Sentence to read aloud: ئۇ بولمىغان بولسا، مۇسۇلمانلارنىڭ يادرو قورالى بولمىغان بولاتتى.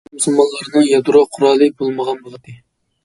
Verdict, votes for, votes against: rejected, 0, 2